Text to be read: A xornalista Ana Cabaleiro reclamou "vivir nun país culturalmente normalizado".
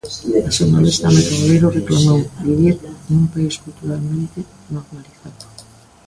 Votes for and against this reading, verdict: 0, 2, rejected